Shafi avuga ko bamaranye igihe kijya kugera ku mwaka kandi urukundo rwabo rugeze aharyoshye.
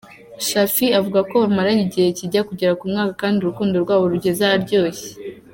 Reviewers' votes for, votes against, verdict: 0, 2, rejected